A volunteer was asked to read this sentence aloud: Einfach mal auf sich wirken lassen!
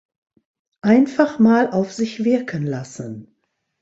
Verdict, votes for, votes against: accepted, 2, 0